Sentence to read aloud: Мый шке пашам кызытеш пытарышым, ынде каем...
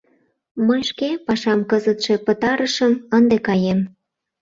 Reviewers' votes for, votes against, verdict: 0, 2, rejected